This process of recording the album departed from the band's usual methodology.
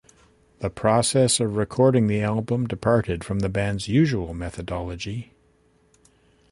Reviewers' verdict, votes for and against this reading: rejected, 0, 2